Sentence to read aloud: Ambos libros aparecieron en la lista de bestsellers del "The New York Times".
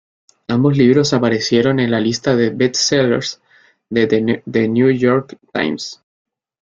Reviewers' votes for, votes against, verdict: 0, 2, rejected